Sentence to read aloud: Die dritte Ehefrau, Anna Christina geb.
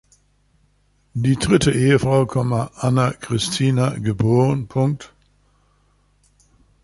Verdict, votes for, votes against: rejected, 0, 2